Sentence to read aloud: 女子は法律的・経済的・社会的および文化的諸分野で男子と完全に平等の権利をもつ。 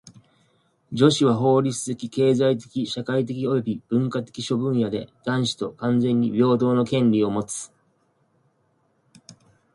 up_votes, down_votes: 2, 0